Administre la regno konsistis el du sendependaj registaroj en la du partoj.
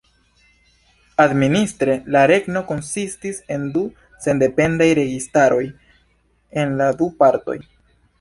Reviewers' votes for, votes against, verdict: 2, 0, accepted